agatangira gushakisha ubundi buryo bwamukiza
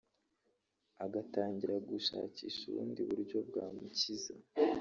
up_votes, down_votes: 1, 2